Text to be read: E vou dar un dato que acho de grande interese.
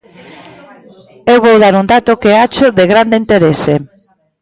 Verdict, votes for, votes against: rejected, 1, 2